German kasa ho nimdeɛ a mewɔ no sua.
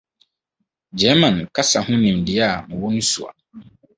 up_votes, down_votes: 4, 0